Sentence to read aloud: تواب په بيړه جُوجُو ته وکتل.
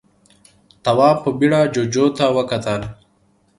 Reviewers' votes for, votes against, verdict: 2, 0, accepted